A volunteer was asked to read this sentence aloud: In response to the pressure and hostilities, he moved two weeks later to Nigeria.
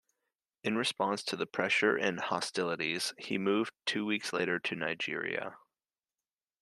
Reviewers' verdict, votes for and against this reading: accepted, 2, 0